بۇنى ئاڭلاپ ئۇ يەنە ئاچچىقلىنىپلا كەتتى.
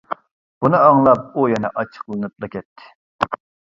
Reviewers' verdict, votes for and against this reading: accepted, 2, 1